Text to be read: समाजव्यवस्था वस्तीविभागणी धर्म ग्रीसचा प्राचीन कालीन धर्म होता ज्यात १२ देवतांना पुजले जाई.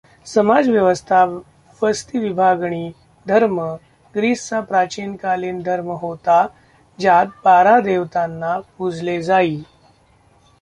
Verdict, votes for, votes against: rejected, 0, 2